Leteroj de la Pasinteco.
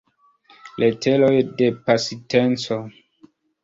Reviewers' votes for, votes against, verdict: 1, 2, rejected